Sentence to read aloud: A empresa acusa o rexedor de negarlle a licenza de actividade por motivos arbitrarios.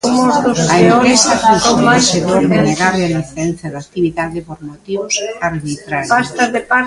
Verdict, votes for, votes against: rejected, 0, 2